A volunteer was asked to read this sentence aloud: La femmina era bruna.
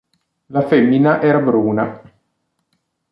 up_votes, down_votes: 2, 0